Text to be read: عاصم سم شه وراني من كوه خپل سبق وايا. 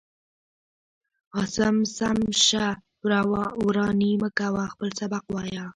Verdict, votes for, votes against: rejected, 0, 2